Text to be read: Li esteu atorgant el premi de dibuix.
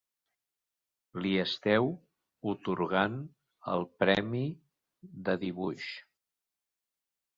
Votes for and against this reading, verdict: 0, 2, rejected